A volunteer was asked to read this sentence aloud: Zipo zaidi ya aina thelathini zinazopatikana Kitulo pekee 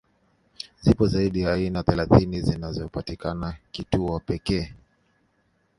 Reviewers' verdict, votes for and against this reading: accepted, 2, 0